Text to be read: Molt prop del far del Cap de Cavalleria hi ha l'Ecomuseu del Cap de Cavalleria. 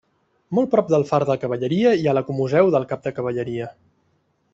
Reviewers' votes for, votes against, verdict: 0, 2, rejected